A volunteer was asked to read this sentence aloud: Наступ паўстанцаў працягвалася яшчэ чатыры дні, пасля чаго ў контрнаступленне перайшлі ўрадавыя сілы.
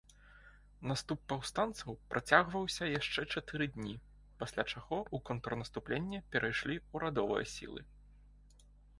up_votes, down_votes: 1, 3